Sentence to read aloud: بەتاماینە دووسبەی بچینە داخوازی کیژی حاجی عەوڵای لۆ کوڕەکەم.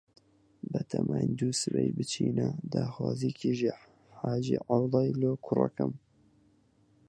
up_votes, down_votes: 2, 4